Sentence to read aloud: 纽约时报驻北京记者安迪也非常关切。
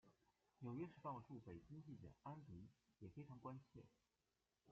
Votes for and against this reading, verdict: 0, 2, rejected